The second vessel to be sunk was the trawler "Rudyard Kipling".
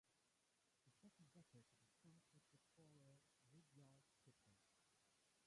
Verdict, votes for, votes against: rejected, 1, 2